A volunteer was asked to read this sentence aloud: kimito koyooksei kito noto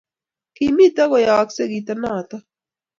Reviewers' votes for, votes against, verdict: 2, 0, accepted